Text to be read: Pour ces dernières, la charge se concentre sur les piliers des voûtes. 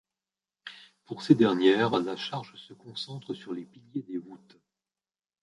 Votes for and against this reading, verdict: 0, 2, rejected